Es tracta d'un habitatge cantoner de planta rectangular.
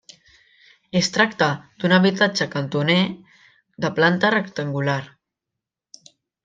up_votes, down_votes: 3, 0